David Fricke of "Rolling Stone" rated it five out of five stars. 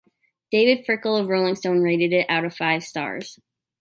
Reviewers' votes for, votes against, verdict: 1, 2, rejected